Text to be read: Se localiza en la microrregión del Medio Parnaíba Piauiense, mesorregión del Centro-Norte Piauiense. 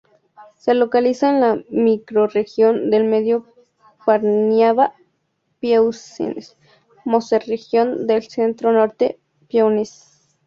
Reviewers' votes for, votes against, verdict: 0, 2, rejected